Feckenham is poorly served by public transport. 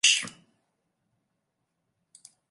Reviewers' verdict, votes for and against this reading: rejected, 0, 2